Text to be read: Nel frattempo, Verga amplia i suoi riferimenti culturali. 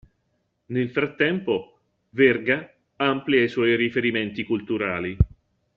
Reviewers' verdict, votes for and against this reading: accepted, 2, 0